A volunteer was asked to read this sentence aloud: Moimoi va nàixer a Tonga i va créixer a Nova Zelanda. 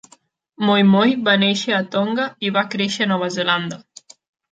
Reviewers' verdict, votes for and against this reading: accepted, 2, 0